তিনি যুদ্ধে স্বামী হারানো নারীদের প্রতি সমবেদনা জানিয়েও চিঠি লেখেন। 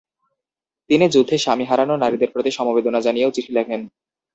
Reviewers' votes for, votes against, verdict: 2, 0, accepted